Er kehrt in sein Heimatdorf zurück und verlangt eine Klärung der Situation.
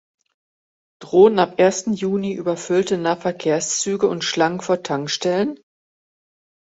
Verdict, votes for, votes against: rejected, 0, 2